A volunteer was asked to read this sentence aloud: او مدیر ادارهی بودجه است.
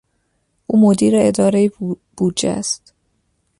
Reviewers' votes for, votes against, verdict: 1, 2, rejected